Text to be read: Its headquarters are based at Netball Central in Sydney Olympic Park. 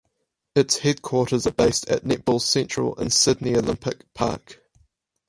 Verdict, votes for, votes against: accepted, 4, 2